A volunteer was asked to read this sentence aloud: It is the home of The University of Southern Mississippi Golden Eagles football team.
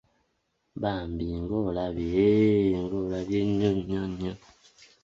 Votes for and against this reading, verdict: 0, 2, rejected